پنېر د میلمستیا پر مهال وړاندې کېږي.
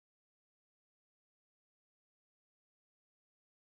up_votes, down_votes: 0, 2